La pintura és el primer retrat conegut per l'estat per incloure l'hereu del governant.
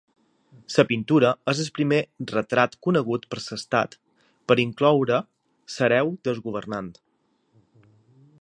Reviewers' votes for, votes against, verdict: 2, 0, accepted